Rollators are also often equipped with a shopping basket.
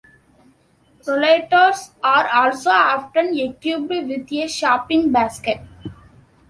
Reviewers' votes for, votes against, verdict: 1, 2, rejected